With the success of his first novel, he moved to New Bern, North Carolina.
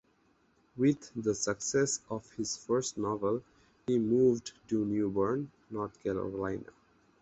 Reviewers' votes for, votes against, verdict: 2, 2, rejected